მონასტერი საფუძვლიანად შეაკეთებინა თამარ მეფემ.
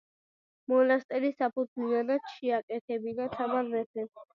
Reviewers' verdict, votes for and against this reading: accepted, 2, 0